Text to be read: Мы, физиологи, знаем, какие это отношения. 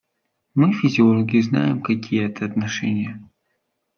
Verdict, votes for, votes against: accepted, 2, 0